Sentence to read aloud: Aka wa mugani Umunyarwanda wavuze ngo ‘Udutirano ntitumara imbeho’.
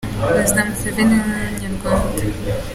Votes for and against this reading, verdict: 0, 2, rejected